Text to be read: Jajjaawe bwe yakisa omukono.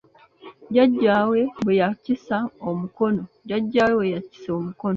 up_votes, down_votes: 0, 3